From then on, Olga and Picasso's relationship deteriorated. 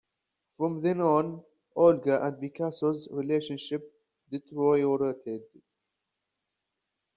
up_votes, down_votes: 1, 2